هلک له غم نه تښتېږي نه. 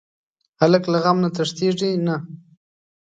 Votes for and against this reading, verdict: 2, 0, accepted